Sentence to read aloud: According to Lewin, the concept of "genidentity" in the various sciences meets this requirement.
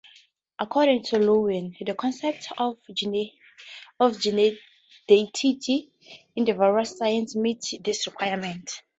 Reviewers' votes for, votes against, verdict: 0, 2, rejected